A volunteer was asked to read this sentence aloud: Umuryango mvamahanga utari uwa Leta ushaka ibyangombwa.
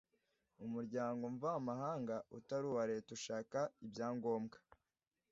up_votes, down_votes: 2, 0